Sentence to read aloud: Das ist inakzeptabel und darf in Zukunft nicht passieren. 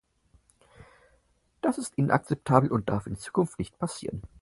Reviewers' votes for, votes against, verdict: 4, 0, accepted